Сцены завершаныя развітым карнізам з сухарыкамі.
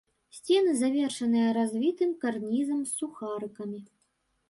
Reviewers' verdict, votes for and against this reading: accepted, 2, 0